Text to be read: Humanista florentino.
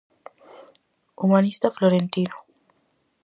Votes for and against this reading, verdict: 4, 0, accepted